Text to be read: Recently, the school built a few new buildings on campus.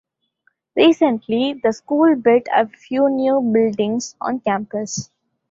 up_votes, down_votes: 2, 0